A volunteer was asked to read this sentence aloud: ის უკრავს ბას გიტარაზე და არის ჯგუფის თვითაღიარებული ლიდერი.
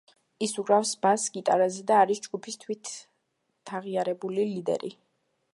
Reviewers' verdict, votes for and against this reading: rejected, 1, 2